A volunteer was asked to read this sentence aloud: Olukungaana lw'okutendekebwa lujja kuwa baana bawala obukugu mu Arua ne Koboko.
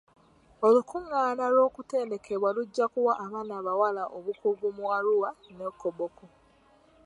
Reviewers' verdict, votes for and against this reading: accepted, 2, 1